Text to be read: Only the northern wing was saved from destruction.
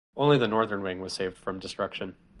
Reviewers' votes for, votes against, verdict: 0, 2, rejected